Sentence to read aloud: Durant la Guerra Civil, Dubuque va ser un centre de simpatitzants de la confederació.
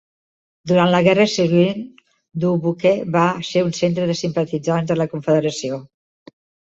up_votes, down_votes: 2, 1